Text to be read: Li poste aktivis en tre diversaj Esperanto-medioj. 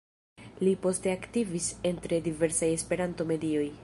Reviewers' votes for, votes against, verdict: 0, 2, rejected